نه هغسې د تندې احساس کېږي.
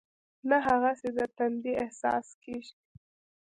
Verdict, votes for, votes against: accepted, 2, 0